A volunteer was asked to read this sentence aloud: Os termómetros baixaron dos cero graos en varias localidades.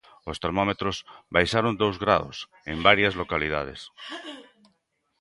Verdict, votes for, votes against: rejected, 0, 2